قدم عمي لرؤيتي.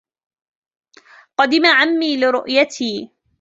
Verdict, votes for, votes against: accepted, 2, 1